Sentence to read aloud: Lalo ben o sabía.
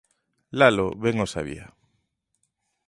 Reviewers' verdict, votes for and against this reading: accepted, 2, 0